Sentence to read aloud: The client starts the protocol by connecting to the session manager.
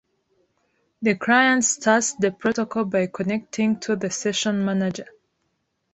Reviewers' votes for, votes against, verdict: 2, 0, accepted